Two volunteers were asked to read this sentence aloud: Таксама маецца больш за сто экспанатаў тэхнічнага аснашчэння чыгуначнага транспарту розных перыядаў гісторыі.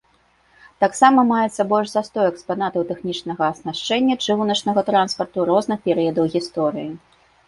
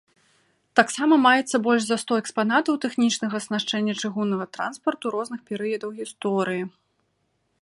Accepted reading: first